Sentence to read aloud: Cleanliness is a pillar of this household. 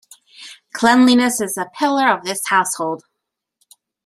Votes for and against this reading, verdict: 1, 2, rejected